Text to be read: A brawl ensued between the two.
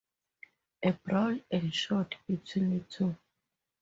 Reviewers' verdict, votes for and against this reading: accepted, 2, 0